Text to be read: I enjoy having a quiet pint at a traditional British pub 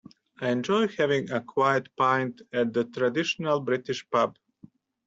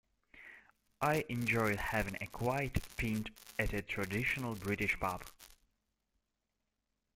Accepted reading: first